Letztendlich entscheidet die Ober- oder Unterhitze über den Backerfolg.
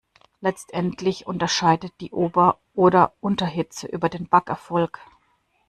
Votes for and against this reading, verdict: 0, 2, rejected